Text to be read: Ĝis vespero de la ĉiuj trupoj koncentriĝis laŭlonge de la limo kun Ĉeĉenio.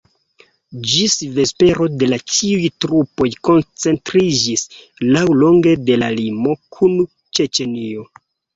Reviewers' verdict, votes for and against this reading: accepted, 2, 0